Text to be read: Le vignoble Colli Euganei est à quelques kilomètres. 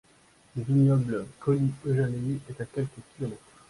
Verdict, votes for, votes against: accepted, 2, 1